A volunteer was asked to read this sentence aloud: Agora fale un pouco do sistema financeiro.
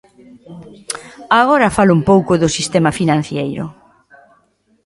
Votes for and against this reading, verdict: 0, 2, rejected